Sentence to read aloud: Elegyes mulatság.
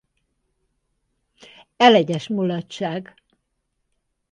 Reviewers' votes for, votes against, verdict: 4, 2, accepted